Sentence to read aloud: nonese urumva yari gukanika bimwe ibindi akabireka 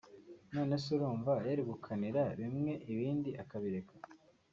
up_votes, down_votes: 1, 2